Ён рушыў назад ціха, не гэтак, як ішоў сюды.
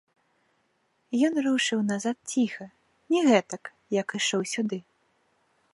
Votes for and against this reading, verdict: 2, 0, accepted